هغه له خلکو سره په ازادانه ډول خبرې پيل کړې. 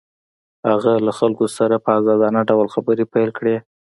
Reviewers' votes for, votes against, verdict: 2, 0, accepted